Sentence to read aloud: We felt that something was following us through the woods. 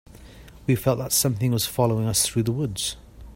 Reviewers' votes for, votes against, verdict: 2, 0, accepted